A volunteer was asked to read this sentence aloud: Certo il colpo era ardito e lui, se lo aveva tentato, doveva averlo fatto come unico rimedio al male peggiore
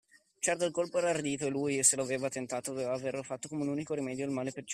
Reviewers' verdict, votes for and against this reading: rejected, 1, 2